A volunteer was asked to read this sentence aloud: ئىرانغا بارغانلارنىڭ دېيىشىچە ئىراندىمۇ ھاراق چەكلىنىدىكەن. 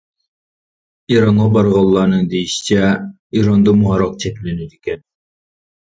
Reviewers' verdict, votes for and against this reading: rejected, 1, 2